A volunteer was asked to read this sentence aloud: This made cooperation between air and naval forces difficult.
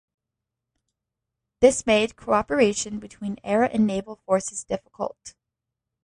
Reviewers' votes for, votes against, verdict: 2, 0, accepted